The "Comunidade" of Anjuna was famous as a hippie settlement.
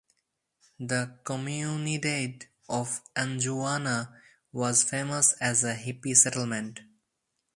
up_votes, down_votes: 4, 0